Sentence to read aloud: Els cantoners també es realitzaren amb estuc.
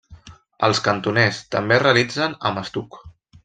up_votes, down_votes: 0, 2